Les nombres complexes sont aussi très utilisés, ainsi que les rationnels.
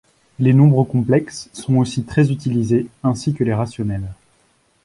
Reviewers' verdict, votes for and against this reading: accepted, 2, 0